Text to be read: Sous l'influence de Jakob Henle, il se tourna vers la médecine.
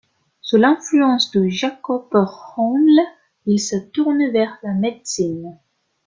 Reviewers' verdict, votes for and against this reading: rejected, 1, 2